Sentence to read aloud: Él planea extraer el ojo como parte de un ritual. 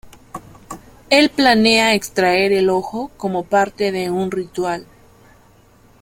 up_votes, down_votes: 2, 0